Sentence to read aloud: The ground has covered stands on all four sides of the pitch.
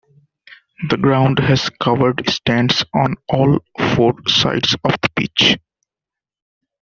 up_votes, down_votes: 2, 0